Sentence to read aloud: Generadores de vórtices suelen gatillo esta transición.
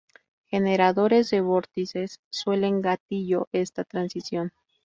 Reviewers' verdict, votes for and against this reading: rejected, 0, 2